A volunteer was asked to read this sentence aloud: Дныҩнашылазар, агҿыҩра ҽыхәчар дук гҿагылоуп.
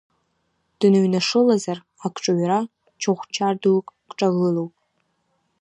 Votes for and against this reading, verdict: 0, 3, rejected